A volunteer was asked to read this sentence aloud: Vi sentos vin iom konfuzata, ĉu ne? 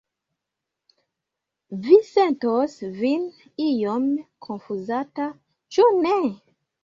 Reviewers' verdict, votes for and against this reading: accepted, 2, 0